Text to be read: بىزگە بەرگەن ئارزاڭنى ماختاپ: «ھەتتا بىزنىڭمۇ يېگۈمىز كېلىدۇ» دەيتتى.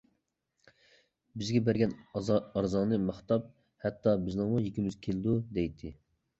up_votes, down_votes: 0, 2